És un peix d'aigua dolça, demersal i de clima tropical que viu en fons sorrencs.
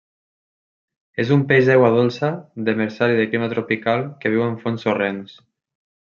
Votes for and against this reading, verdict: 2, 0, accepted